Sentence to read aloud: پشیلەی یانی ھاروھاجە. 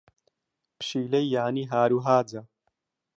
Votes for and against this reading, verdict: 2, 1, accepted